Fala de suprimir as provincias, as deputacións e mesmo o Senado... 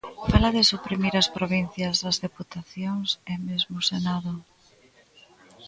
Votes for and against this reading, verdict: 0, 2, rejected